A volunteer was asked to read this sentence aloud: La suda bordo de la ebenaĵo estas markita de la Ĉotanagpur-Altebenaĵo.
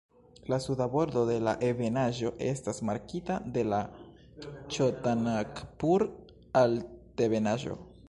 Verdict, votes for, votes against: rejected, 1, 2